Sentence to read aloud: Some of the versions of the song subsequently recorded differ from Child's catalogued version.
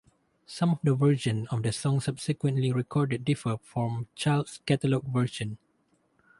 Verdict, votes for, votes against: rejected, 0, 2